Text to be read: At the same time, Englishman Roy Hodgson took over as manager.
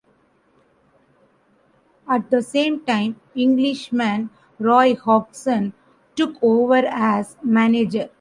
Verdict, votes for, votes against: rejected, 1, 2